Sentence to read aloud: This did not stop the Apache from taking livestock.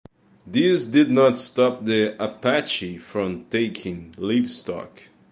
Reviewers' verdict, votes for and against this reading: rejected, 0, 2